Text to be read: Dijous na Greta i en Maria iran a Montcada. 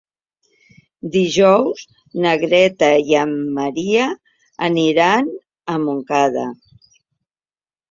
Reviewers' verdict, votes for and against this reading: accepted, 2, 0